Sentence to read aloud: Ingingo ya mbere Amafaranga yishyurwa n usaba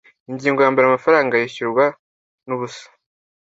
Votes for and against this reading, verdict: 1, 2, rejected